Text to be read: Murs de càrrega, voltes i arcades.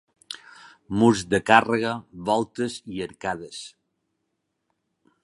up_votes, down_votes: 3, 0